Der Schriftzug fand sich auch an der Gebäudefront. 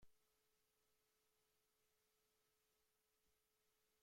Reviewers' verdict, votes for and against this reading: rejected, 0, 2